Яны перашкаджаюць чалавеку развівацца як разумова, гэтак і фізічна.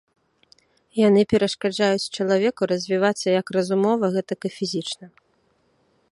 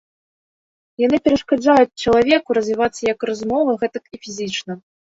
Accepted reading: second